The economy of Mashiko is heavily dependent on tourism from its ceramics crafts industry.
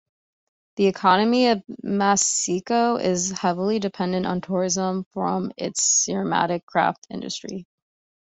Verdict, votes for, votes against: rejected, 1, 2